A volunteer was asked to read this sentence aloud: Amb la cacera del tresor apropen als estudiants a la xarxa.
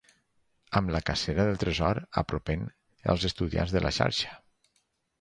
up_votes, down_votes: 2, 4